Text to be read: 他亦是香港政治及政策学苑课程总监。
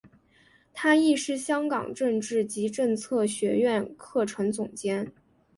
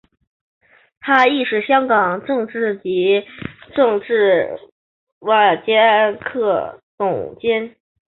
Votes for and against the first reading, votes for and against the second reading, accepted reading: 2, 0, 0, 5, first